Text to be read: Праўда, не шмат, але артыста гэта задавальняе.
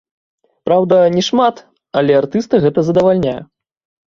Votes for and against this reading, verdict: 2, 1, accepted